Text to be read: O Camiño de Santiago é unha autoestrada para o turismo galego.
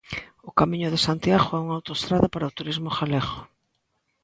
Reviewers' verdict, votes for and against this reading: accepted, 2, 0